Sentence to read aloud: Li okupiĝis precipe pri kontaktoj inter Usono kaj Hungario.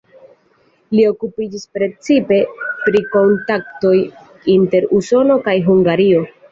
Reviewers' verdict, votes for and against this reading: rejected, 1, 2